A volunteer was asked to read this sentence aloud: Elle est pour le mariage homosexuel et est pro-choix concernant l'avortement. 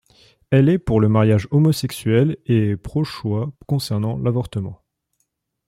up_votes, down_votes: 2, 1